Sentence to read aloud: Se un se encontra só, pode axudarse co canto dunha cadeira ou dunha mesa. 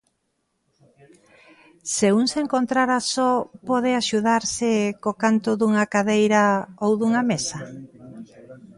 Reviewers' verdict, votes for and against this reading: rejected, 0, 2